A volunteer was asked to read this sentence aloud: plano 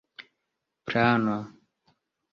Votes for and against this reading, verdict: 0, 2, rejected